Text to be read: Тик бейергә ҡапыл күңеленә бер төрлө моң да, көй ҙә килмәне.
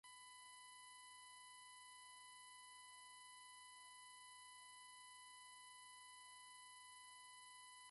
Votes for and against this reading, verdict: 0, 4, rejected